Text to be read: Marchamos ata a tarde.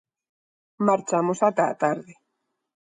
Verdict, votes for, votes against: accepted, 2, 0